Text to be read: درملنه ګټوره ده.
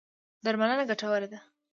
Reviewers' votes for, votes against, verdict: 2, 0, accepted